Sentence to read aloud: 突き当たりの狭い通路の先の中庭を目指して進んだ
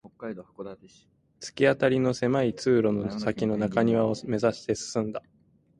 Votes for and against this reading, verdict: 0, 2, rejected